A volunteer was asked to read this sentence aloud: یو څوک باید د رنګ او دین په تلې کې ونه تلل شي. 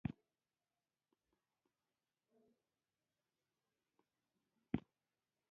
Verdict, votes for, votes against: rejected, 1, 2